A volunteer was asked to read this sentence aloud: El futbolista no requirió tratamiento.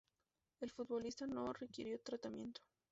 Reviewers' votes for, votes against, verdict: 2, 0, accepted